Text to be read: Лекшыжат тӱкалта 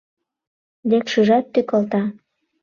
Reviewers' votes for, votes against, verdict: 2, 0, accepted